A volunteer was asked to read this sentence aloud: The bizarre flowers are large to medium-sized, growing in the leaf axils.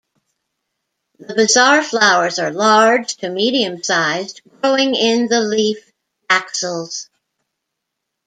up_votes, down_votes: 2, 0